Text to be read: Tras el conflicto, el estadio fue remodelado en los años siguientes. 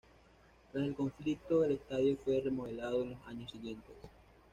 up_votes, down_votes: 1, 2